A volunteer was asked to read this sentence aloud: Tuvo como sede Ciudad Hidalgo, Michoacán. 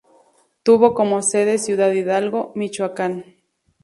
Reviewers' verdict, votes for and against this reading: accepted, 2, 0